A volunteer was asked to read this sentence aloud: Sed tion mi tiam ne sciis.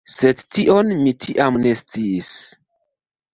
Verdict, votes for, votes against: rejected, 0, 2